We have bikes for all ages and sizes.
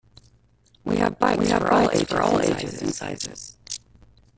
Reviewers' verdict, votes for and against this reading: rejected, 0, 3